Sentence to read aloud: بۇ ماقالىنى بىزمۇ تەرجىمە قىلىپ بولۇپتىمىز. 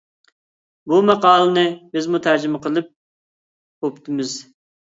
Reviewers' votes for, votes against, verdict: 1, 2, rejected